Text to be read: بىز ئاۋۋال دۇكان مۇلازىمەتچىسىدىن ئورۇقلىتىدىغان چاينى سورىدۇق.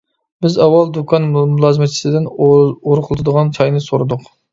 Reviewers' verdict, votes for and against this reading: rejected, 1, 2